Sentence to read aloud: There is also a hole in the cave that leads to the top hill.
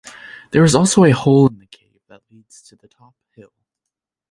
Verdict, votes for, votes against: rejected, 0, 2